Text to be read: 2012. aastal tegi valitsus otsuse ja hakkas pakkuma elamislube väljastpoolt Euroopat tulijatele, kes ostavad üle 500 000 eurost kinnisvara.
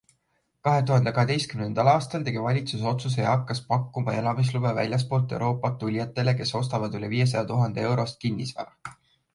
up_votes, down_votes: 0, 2